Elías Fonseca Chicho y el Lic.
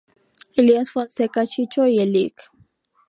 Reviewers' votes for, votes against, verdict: 2, 0, accepted